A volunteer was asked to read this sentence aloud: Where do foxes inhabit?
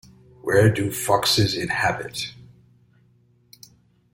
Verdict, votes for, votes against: accepted, 2, 0